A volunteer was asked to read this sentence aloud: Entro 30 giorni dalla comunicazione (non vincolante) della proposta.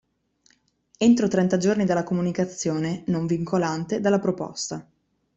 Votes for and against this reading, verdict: 0, 2, rejected